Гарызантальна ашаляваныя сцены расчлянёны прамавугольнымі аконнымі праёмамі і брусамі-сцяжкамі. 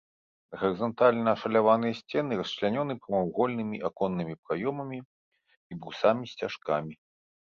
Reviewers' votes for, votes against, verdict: 0, 2, rejected